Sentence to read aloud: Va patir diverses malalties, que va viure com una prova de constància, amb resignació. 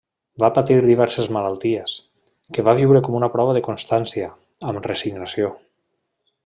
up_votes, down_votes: 1, 2